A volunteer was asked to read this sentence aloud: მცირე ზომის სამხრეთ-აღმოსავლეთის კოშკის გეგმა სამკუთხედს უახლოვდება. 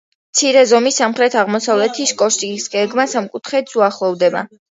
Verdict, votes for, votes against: rejected, 1, 2